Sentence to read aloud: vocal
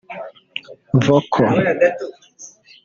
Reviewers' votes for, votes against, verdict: 0, 2, rejected